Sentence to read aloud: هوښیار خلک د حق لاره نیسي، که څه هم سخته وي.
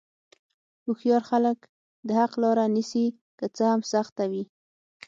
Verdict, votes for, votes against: accepted, 6, 0